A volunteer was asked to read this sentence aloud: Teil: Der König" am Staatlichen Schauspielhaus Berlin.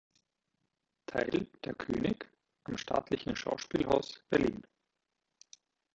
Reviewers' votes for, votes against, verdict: 0, 2, rejected